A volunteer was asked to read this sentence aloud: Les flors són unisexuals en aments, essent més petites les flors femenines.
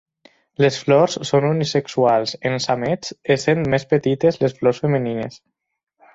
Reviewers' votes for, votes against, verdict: 6, 0, accepted